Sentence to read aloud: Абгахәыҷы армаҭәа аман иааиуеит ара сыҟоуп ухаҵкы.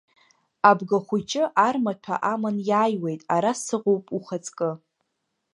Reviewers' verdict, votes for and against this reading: accepted, 2, 0